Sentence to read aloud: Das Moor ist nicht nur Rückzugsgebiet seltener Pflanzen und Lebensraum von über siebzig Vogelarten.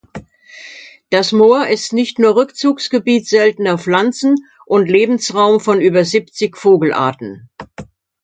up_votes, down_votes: 2, 0